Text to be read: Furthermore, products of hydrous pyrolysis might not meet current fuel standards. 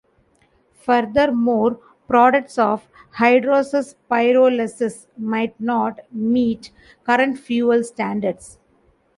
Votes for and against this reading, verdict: 2, 1, accepted